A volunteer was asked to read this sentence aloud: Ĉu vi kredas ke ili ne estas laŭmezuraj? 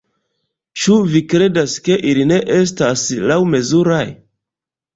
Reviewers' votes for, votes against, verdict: 1, 2, rejected